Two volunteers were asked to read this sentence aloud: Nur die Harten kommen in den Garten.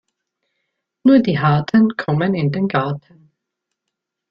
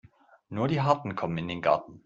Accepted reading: second